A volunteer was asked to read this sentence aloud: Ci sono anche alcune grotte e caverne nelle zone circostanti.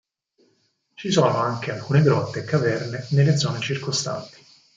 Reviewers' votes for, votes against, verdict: 6, 0, accepted